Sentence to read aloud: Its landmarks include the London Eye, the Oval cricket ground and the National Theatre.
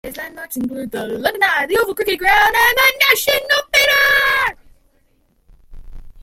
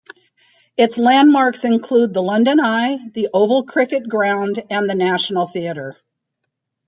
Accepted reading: second